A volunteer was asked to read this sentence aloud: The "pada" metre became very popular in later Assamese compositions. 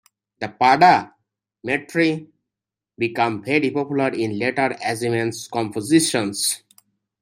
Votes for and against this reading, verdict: 1, 2, rejected